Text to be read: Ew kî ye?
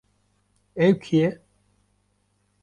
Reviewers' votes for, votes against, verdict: 2, 0, accepted